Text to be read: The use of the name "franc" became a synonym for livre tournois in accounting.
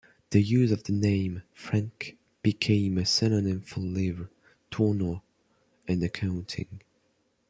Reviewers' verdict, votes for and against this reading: accepted, 2, 1